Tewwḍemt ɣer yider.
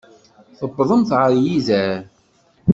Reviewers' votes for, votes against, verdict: 2, 0, accepted